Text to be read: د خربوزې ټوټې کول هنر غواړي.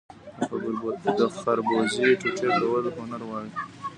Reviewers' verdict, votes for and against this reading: rejected, 0, 2